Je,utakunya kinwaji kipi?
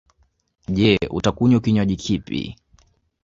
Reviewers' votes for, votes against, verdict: 2, 0, accepted